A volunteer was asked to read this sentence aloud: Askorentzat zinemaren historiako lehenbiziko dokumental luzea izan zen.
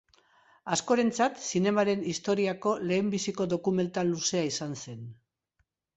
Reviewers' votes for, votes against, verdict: 2, 0, accepted